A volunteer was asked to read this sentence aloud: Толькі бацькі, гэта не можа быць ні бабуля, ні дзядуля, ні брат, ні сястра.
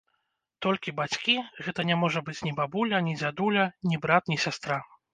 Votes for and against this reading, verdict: 2, 0, accepted